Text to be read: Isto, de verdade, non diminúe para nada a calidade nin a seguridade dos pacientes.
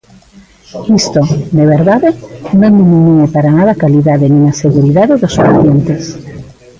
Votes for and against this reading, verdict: 0, 2, rejected